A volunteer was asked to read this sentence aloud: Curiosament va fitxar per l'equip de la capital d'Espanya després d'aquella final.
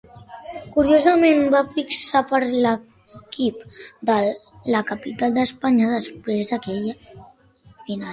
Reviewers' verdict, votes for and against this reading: rejected, 0, 2